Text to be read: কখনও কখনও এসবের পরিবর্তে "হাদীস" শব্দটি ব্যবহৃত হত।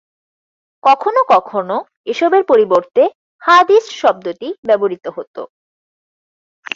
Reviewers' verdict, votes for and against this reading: accepted, 4, 0